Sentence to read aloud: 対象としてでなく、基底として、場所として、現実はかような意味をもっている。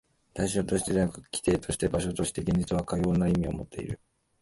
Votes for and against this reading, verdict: 2, 4, rejected